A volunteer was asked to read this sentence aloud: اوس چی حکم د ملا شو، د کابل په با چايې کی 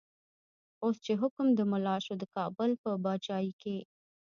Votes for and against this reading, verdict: 0, 2, rejected